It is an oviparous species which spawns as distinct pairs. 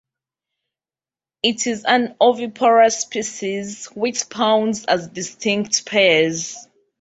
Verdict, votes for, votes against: rejected, 0, 2